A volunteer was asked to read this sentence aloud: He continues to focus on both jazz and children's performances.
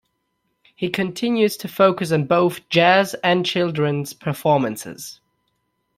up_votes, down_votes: 2, 0